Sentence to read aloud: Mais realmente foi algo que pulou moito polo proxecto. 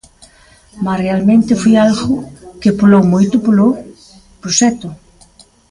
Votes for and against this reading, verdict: 1, 2, rejected